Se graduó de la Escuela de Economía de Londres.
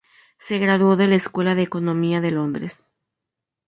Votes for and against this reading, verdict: 2, 2, rejected